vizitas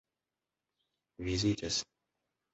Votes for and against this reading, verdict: 3, 2, accepted